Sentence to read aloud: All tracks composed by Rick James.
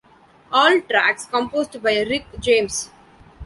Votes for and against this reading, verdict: 2, 0, accepted